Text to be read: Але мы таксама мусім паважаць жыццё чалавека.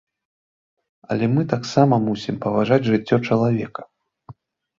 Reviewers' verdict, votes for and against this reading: accepted, 2, 0